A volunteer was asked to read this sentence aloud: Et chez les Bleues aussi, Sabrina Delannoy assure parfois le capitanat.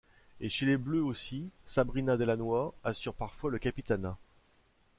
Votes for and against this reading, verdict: 2, 0, accepted